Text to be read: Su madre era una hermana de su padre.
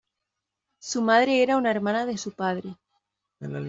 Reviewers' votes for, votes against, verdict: 2, 1, accepted